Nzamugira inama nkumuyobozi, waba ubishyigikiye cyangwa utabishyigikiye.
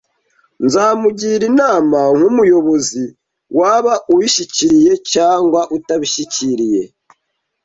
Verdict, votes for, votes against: rejected, 0, 2